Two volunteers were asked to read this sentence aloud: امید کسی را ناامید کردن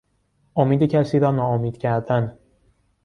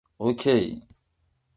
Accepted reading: first